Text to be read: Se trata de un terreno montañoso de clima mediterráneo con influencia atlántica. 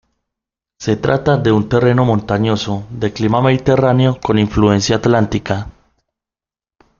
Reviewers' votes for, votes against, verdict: 2, 0, accepted